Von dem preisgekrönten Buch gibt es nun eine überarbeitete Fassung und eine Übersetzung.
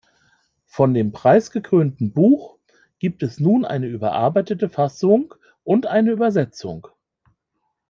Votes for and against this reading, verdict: 1, 2, rejected